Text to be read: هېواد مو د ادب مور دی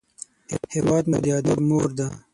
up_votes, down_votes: 3, 6